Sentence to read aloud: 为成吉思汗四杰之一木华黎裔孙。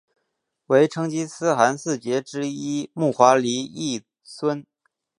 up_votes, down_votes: 3, 0